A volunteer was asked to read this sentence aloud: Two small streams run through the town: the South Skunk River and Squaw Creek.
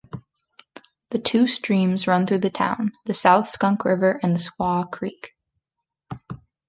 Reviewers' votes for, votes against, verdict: 0, 2, rejected